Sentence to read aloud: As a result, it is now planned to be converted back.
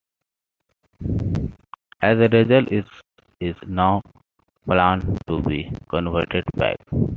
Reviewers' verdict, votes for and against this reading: rejected, 0, 2